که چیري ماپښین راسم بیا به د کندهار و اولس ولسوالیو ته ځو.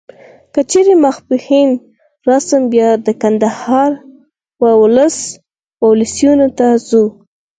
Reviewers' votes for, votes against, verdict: 2, 4, rejected